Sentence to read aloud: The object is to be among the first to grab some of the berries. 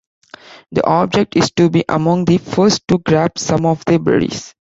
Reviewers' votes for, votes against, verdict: 2, 0, accepted